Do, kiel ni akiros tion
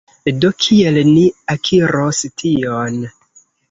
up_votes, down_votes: 0, 2